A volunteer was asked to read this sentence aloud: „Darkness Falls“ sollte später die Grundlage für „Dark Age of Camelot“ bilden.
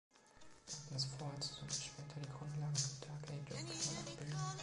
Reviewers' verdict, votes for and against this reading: rejected, 1, 2